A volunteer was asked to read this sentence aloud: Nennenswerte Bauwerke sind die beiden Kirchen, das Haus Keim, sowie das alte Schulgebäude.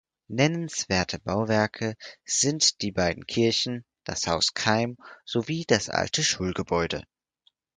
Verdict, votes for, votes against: accepted, 4, 0